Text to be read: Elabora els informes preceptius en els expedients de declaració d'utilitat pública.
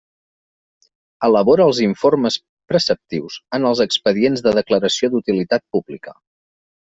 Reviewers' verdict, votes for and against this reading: accepted, 2, 0